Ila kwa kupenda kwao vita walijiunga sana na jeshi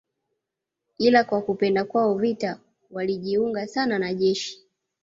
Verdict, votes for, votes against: accepted, 2, 0